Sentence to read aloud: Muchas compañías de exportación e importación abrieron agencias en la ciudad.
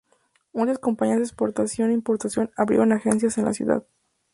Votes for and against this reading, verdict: 0, 2, rejected